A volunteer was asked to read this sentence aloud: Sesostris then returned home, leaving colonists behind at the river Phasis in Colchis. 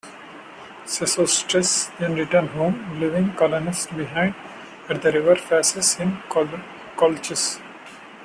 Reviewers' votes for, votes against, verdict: 1, 2, rejected